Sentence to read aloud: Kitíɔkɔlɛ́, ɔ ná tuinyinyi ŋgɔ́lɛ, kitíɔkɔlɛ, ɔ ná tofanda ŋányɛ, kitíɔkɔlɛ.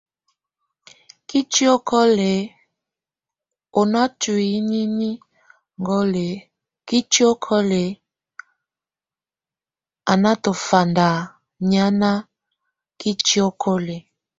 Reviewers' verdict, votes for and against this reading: rejected, 0, 2